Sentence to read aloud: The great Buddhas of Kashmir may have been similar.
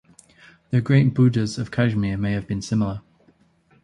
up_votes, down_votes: 2, 0